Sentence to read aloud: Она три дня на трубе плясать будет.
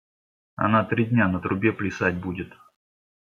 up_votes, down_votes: 2, 0